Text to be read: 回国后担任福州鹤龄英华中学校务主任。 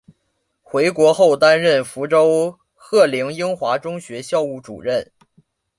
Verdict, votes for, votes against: accepted, 2, 0